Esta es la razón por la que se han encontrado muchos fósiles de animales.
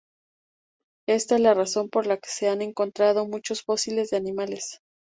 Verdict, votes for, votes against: accepted, 2, 0